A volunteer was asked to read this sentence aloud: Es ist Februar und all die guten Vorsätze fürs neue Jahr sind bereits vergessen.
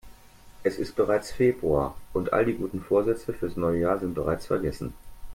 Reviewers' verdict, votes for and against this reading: rejected, 0, 2